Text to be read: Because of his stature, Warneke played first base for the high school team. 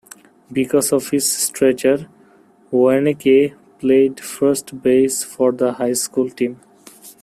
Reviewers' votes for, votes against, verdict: 1, 2, rejected